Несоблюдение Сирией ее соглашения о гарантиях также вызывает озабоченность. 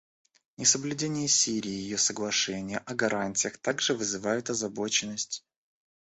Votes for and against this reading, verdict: 2, 1, accepted